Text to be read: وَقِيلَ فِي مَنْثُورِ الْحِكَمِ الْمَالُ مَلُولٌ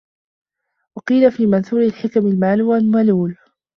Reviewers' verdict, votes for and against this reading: rejected, 0, 2